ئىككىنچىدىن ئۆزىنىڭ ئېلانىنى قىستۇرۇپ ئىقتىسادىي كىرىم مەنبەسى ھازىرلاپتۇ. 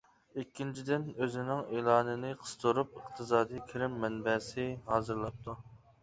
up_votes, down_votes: 2, 0